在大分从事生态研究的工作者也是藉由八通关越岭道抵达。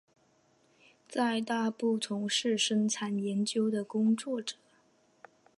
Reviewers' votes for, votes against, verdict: 1, 2, rejected